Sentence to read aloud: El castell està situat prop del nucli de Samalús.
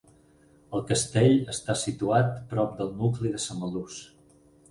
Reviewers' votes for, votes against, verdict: 12, 0, accepted